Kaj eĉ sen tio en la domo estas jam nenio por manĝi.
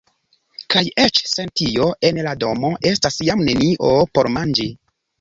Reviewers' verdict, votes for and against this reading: accepted, 2, 1